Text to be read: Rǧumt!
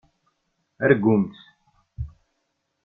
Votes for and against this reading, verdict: 0, 2, rejected